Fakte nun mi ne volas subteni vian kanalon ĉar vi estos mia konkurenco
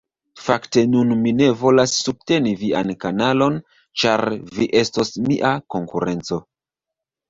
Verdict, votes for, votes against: rejected, 0, 2